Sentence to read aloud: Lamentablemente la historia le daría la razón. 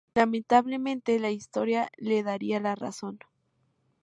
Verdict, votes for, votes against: accepted, 2, 0